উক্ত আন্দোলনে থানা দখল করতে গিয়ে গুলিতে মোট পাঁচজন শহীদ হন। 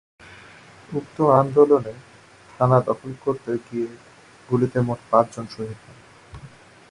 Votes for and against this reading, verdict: 2, 0, accepted